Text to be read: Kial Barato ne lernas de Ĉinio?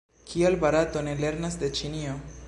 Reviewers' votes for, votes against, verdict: 2, 0, accepted